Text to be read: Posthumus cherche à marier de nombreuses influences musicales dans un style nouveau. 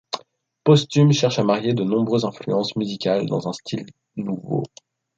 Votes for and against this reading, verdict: 1, 2, rejected